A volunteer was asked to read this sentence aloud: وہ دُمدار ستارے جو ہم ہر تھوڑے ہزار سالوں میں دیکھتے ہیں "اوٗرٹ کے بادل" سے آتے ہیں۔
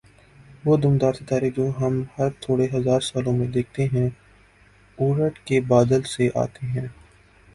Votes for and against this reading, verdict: 4, 2, accepted